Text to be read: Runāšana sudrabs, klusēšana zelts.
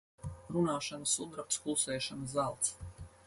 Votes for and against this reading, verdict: 4, 0, accepted